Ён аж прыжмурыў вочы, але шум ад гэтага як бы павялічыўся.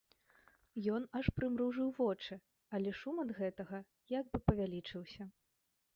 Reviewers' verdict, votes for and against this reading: rejected, 0, 2